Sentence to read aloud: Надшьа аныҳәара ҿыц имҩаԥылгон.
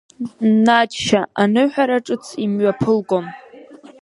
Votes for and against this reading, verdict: 4, 0, accepted